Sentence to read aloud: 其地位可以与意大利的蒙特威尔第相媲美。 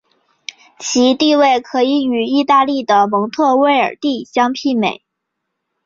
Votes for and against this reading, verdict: 3, 0, accepted